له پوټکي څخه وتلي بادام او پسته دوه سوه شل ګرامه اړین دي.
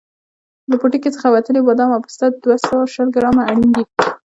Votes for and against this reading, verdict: 1, 2, rejected